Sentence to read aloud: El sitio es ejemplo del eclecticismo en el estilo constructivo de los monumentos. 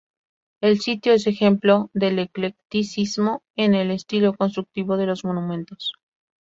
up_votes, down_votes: 2, 0